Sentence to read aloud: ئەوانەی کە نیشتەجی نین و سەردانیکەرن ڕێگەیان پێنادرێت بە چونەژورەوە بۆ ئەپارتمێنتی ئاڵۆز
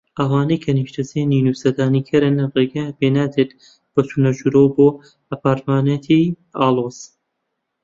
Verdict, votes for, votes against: rejected, 0, 2